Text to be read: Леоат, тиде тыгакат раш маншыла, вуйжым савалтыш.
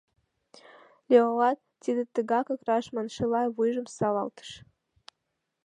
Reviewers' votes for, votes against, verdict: 3, 0, accepted